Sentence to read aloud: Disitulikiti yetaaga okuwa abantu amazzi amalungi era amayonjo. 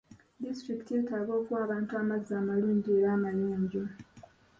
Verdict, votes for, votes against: accepted, 2, 0